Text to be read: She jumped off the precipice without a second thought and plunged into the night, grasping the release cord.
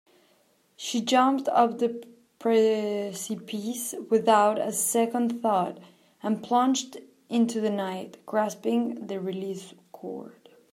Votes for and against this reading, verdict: 0, 2, rejected